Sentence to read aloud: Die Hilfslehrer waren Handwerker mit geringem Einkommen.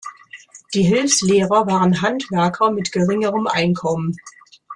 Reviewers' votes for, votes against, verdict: 0, 2, rejected